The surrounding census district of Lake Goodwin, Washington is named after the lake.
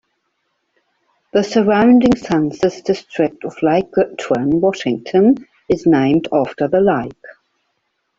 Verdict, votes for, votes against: accepted, 2, 1